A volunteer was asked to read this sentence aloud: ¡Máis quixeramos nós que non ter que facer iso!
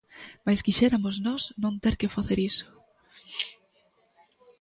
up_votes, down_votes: 0, 2